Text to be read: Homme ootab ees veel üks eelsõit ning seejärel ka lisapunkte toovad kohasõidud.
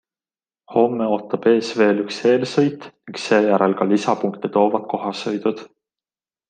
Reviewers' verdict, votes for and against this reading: accepted, 2, 0